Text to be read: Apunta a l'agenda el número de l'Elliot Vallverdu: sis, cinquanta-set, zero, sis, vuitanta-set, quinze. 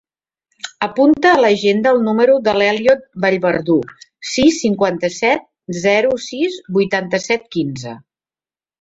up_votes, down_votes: 4, 0